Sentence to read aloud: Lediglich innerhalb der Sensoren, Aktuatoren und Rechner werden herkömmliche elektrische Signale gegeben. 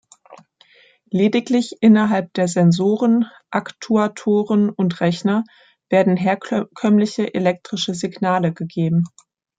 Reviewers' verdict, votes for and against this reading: rejected, 0, 2